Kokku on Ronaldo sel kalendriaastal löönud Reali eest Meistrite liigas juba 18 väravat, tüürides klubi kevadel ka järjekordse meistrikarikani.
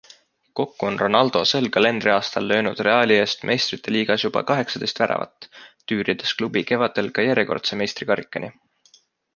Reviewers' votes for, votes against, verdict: 0, 2, rejected